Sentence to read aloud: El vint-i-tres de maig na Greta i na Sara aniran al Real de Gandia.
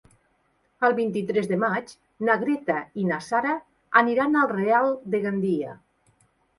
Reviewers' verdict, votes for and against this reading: accepted, 2, 0